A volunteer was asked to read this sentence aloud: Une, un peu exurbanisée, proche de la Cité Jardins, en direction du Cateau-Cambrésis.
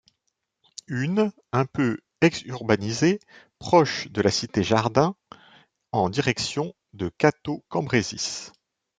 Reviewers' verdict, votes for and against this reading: rejected, 1, 2